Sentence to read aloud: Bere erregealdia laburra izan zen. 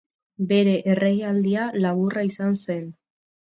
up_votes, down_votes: 2, 0